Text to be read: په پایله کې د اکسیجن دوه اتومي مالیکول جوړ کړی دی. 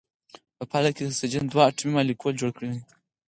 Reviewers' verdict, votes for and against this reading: rejected, 0, 4